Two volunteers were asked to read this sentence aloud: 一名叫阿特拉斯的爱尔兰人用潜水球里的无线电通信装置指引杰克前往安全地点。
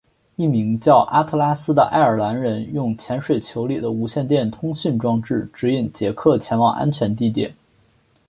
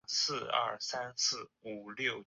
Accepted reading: first